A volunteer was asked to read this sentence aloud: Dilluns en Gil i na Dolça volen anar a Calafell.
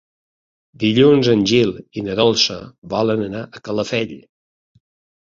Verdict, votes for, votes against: accepted, 2, 0